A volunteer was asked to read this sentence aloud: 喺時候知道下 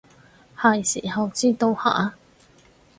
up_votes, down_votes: 0, 4